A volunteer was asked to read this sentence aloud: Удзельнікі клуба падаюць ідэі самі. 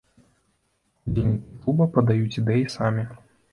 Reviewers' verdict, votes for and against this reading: rejected, 1, 2